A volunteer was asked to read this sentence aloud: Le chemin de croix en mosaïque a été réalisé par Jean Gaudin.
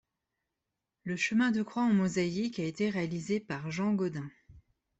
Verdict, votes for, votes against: accepted, 2, 0